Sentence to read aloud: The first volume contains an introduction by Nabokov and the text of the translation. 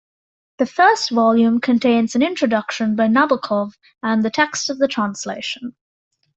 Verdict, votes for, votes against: accepted, 2, 0